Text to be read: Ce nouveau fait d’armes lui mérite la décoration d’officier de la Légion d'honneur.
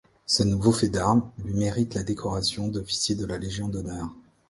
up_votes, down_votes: 2, 0